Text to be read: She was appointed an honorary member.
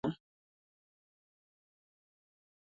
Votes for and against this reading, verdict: 0, 2, rejected